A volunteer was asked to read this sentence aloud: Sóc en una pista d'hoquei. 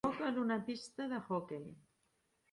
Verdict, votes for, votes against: rejected, 0, 2